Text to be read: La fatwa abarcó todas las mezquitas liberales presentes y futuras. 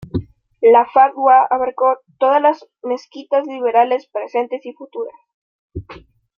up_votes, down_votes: 2, 0